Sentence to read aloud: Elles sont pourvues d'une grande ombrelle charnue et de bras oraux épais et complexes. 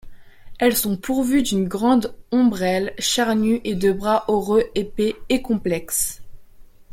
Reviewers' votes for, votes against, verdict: 2, 1, accepted